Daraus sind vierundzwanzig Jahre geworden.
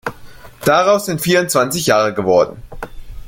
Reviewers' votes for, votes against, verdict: 2, 0, accepted